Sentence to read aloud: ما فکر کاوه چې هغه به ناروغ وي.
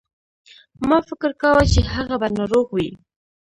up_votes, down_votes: 2, 1